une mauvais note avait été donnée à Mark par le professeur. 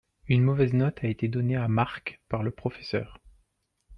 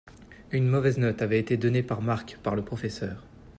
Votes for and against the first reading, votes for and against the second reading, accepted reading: 2, 1, 1, 2, first